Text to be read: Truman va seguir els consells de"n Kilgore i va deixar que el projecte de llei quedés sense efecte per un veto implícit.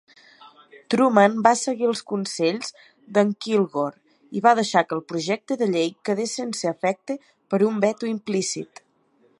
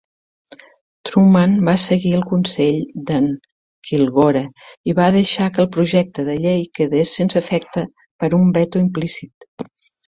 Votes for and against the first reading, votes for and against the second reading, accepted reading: 2, 0, 2, 3, first